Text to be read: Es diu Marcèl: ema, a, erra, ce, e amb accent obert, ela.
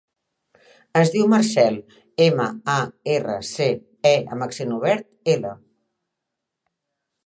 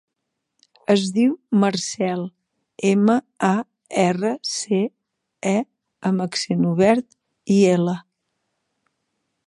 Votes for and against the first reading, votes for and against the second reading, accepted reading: 2, 0, 0, 3, first